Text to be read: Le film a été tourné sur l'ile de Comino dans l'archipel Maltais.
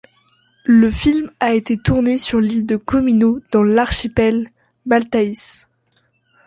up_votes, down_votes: 1, 2